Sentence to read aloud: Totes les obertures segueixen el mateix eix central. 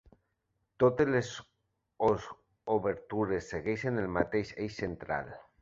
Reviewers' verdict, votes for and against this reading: rejected, 0, 3